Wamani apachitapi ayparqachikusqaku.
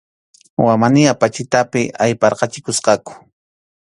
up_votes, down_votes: 2, 0